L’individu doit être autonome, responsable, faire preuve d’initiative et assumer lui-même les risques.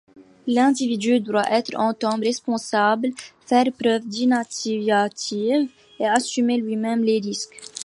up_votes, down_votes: 1, 2